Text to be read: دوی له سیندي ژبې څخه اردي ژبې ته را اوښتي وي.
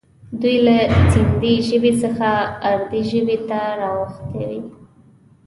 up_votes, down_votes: 1, 2